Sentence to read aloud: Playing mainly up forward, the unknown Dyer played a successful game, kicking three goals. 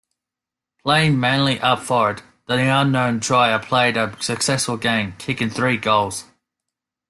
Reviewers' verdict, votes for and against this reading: accepted, 2, 1